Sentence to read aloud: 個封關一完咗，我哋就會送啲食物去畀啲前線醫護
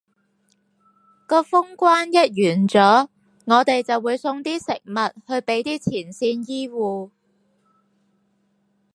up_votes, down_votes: 4, 0